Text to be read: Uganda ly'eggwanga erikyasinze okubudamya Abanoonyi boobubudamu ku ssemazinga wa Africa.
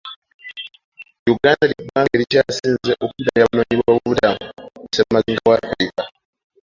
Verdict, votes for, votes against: accepted, 2, 1